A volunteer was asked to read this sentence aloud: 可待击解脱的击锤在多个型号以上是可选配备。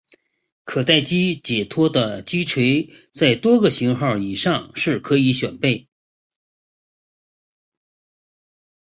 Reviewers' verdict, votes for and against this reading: rejected, 0, 2